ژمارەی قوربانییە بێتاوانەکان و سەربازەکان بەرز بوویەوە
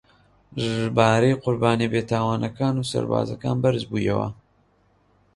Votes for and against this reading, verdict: 2, 1, accepted